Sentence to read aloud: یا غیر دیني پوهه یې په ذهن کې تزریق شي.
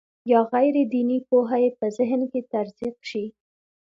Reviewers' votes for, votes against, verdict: 2, 0, accepted